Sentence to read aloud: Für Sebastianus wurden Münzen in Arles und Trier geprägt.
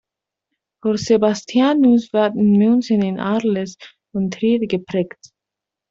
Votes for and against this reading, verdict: 0, 2, rejected